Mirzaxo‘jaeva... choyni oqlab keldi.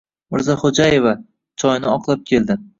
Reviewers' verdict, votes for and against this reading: accepted, 2, 1